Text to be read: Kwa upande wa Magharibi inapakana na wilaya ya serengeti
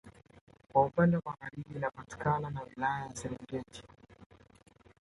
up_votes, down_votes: 0, 2